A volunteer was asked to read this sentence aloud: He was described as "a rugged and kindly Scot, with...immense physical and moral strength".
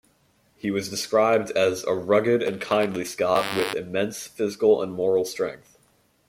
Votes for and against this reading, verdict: 2, 1, accepted